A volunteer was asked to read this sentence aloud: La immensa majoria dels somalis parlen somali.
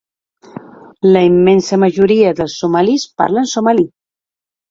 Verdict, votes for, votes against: accepted, 2, 0